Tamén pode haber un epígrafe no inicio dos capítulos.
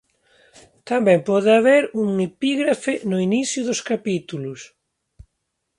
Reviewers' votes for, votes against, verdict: 3, 0, accepted